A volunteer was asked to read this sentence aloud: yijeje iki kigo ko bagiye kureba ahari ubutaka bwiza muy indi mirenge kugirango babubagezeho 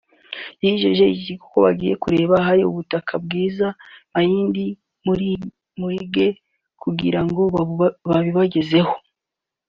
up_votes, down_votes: 0, 2